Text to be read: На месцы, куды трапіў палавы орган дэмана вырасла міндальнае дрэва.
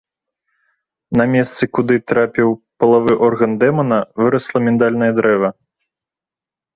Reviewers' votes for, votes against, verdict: 3, 0, accepted